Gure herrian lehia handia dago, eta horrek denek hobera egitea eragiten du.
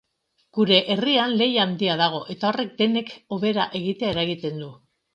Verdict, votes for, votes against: accepted, 2, 0